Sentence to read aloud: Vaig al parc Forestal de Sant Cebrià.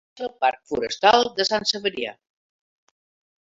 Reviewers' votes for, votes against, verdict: 0, 2, rejected